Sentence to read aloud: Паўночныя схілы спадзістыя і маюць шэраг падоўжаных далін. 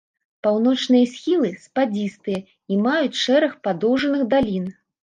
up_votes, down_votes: 1, 2